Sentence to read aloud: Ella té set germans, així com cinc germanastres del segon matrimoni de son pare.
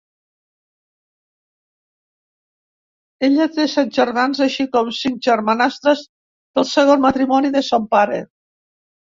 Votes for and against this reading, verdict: 2, 0, accepted